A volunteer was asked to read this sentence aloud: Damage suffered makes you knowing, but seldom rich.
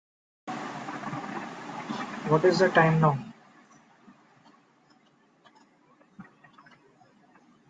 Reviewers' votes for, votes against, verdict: 0, 2, rejected